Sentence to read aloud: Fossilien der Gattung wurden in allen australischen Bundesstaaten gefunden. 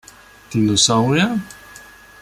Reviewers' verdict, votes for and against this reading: rejected, 0, 2